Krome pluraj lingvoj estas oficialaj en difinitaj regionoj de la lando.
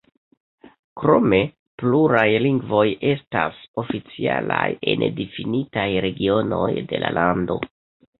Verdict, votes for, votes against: accepted, 2, 1